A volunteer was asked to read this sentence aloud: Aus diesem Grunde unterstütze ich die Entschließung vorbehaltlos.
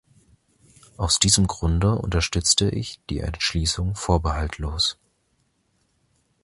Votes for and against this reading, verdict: 0, 2, rejected